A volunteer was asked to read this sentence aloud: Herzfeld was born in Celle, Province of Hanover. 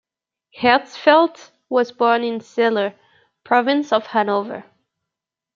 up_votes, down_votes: 1, 2